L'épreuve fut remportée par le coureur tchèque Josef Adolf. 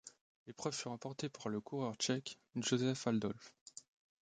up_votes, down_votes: 0, 2